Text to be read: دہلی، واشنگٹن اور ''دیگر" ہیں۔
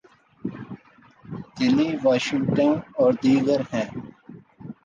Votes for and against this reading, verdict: 3, 0, accepted